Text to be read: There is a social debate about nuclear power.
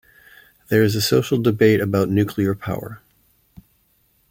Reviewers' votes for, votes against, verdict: 2, 0, accepted